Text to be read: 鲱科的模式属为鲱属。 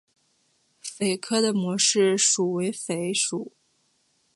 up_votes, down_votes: 3, 1